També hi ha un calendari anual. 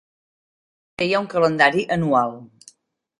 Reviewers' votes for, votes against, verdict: 0, 2, rejected